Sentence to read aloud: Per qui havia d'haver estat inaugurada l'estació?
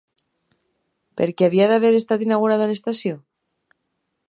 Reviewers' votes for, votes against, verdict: 1, 2, rejected